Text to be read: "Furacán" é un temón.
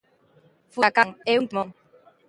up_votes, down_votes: 0, 2